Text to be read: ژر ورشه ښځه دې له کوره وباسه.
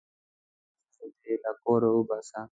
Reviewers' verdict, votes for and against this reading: rejected, 2, 3